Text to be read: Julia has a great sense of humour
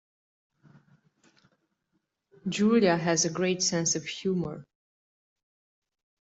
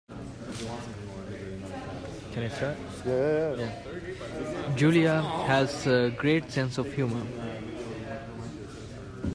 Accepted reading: first